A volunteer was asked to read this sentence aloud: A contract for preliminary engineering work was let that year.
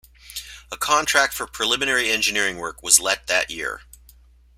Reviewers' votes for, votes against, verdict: 2, 0, accepted